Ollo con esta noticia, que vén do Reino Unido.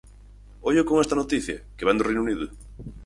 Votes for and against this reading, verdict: 4, 0, accepted